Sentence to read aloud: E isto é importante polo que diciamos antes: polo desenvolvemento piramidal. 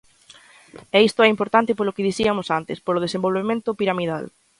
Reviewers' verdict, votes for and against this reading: rejected, 1, 2